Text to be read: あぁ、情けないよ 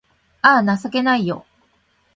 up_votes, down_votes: 2, 0